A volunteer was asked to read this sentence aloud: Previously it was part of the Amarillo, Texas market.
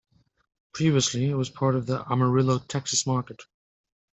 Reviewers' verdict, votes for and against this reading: accepted, 2, 0